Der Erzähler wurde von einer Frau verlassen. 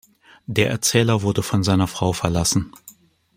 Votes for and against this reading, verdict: 1, 2, rejected